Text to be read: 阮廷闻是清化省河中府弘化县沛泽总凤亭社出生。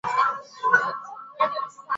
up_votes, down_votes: 1, 7